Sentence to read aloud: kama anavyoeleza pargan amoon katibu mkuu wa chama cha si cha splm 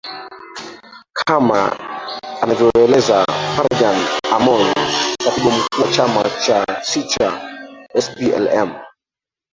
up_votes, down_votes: 0, 3